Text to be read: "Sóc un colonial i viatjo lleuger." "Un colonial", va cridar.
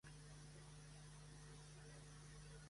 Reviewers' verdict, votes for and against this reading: rejected, 1, 2